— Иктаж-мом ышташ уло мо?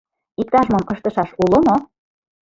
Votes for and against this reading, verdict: 0, 2, rejected